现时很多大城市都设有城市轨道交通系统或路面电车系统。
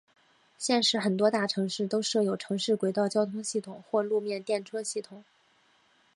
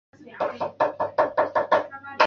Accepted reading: first